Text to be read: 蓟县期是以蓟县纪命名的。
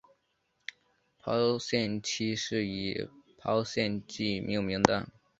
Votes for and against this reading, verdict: 2, 3, rejected